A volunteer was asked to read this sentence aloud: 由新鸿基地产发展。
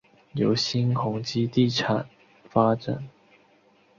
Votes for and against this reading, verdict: 3, 0, accepted